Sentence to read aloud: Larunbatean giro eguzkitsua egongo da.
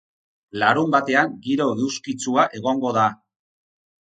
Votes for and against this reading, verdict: 4, 0, accepted